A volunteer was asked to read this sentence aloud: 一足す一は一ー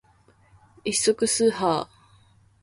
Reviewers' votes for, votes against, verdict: 2, 1, accepted